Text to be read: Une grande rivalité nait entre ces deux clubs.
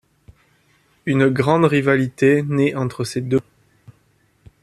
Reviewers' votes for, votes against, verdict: 1, 2, rejected